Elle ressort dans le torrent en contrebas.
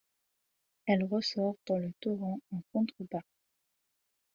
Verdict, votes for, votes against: accepted, 2, 0